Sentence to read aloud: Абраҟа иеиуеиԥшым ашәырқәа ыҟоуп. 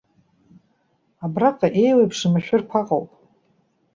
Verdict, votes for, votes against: accepted, 2, 0